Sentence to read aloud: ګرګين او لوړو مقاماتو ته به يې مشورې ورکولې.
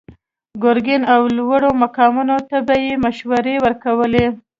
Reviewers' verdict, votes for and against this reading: accepted, 3, 0